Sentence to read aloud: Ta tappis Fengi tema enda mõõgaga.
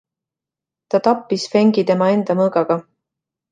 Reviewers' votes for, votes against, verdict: 2, 1, accepted